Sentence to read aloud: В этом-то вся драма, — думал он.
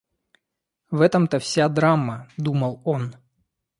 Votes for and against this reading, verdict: 2, 0, accepted